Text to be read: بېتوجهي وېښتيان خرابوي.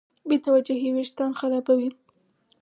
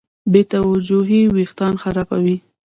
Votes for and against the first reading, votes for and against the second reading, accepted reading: 4, 0, 1, 2, first